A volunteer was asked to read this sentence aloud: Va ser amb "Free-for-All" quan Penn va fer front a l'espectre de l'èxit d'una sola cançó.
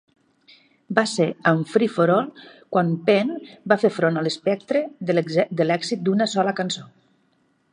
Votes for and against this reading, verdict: 2, 3, rejected